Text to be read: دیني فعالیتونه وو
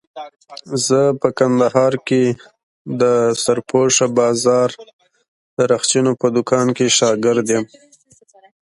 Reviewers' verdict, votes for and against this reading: rejected, 0, 2